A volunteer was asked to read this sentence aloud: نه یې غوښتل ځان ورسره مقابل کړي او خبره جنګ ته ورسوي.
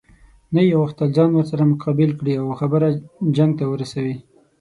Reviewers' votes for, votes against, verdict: 6, 0, accepted